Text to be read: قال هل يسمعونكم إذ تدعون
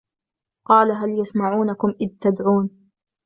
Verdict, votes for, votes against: accepted, 2, 0